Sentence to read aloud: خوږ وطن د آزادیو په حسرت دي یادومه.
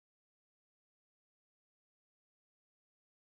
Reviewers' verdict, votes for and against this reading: rejected, 1, 2